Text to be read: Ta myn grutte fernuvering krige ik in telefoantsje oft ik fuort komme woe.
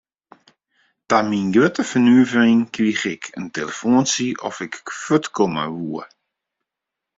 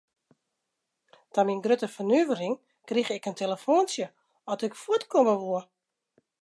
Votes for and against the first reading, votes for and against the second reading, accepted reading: 1, 2, 2, 0, second